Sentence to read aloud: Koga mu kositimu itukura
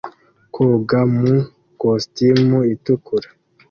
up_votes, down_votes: 2, 0